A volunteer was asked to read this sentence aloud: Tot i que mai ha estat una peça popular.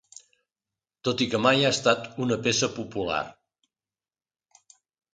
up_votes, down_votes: 2, 0